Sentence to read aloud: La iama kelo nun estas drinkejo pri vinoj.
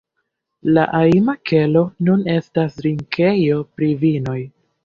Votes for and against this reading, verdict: 1, 2, rejected